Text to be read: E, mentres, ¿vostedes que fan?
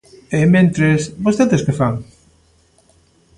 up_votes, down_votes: 2, 0